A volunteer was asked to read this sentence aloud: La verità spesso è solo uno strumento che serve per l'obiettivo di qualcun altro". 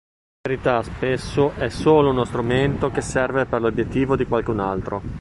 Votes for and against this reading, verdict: 0, 2, rejected